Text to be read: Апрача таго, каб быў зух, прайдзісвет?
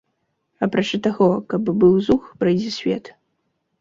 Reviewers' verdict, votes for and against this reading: rejected, 1, 2